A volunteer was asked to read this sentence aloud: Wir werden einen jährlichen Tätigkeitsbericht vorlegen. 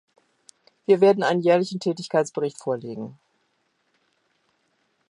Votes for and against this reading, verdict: 2, 0, accepted